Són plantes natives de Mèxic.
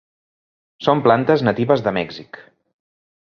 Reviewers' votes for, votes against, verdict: 3, 0, accepted